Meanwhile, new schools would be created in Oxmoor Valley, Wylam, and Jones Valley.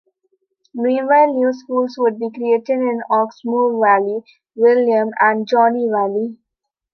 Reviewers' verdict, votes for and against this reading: rejected, 1, 2